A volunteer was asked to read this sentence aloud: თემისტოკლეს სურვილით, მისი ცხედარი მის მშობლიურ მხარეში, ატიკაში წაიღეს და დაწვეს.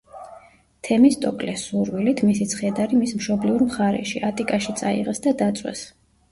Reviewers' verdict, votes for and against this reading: rejected, 1, 2